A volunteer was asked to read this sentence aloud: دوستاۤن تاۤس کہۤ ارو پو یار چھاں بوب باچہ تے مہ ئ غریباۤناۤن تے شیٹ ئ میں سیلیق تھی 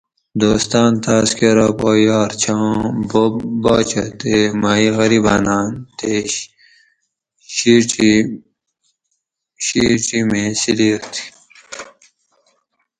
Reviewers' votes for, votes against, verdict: 2, 2, rejected